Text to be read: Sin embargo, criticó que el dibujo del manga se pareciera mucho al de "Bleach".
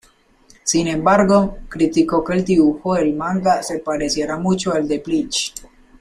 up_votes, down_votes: 2, 0